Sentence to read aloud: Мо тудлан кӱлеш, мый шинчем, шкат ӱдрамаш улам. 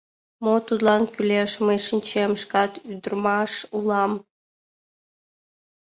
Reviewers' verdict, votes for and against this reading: rejected, 1, 5